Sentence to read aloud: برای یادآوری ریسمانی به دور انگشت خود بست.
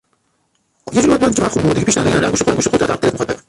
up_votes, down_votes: 0, 2